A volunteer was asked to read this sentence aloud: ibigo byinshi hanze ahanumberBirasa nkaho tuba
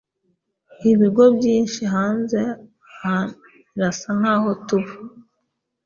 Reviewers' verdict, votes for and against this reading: rejected, 0, 2